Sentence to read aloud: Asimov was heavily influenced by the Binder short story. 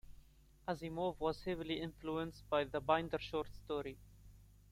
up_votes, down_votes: 2, 0